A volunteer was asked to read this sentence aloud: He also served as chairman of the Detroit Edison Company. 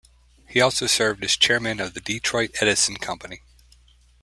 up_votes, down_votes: 2, 0